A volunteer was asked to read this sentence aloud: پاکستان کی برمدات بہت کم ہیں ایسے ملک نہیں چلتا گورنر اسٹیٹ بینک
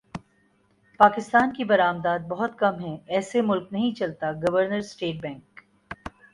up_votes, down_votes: 3, 0